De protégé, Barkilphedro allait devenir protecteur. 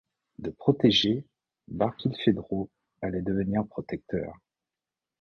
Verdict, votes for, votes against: accepted, 2, 0